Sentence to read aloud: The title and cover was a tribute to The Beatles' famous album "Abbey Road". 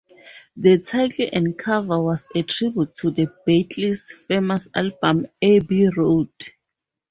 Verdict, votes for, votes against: rejected, 2, 2